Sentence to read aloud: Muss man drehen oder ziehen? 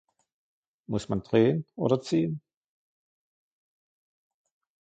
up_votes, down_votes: 2, 0